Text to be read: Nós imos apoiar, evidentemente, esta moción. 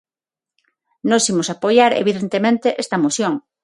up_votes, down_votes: 6, 0